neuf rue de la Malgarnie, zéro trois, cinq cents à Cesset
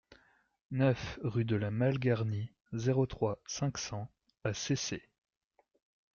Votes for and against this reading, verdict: 2, 0, accepted